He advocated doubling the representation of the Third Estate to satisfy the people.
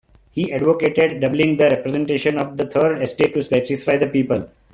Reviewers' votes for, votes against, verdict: 2, 0, accepted